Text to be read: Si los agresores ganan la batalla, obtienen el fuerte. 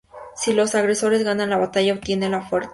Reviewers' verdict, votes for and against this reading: rejected, 0, 2